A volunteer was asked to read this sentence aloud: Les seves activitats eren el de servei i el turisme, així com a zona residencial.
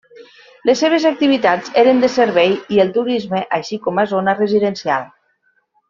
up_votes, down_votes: 1, 2